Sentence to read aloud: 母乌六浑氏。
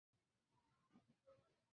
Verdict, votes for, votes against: rejected, 0, 2